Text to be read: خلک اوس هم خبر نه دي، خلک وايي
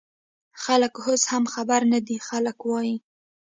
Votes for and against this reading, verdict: 2, 0, accepted